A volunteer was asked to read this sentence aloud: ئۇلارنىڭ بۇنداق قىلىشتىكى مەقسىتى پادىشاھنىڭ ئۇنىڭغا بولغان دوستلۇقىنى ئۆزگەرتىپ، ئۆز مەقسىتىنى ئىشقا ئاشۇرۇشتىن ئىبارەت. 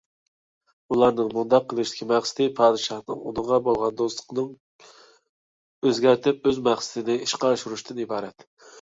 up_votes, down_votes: 0, 2